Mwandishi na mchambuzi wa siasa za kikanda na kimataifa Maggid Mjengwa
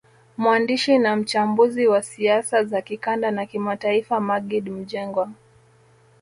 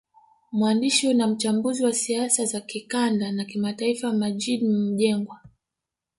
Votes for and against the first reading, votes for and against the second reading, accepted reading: 1, 2, 2, 1, second